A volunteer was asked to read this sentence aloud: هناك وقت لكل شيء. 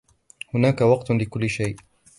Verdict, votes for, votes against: accepted, 2, 0